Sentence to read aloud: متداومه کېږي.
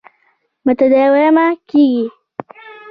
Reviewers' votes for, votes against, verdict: 1, 2, rejected